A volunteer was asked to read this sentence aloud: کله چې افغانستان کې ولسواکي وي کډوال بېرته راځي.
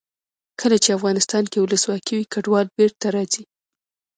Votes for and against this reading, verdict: 2, 0, accepted